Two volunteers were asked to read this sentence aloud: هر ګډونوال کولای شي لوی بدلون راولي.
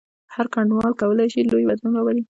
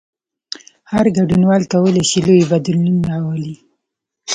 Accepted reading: second